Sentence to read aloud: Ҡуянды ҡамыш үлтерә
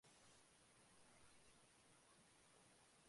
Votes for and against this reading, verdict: 1, 2, rejected